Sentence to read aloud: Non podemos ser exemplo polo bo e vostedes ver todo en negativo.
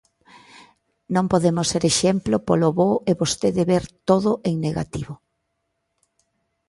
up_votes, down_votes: 2, 1